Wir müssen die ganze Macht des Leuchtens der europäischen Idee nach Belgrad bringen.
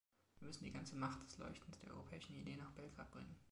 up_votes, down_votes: 2, 1